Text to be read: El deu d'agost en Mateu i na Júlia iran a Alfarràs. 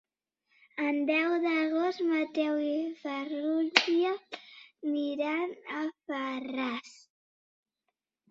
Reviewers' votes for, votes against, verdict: 1, 2, rejected